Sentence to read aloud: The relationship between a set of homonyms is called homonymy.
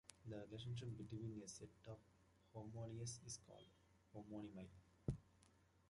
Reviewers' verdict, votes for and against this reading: rejected, 0, 2